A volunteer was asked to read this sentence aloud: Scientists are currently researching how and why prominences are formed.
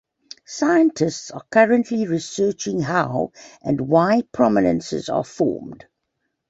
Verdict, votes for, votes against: accepted, 2, 0